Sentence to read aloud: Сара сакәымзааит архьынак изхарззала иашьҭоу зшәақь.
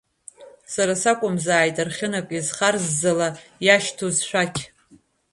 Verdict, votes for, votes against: accepted, 2, 0